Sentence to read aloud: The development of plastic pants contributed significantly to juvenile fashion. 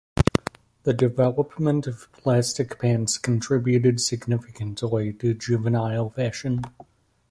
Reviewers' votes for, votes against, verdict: 1, 2, rejected